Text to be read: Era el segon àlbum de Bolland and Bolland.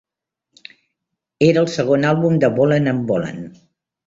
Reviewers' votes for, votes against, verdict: 3, 0, accepted